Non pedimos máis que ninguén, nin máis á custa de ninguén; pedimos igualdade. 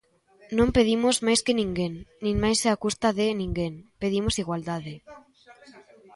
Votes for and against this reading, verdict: 0, 2, rejected